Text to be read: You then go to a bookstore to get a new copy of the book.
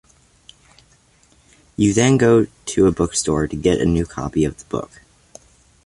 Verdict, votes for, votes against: accepted, 2, 0